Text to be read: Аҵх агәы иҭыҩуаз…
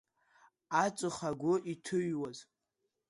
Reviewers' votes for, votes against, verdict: 2, 0, accepted